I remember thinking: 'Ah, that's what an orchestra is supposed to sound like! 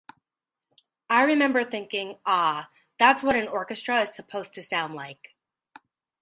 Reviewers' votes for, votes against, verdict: 0, 2, rejected